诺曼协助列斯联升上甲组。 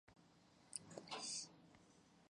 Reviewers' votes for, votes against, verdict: 2, 5, rejected